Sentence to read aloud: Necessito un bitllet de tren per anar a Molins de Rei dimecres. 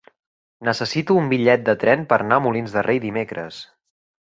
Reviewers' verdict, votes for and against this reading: rejected, 1, 2